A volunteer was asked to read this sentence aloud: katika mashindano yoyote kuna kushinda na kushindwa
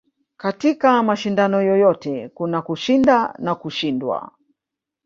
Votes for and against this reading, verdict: 2, 0, accepted